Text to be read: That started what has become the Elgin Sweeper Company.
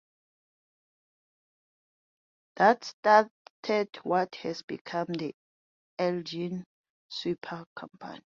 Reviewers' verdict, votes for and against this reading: rejected, 0, 2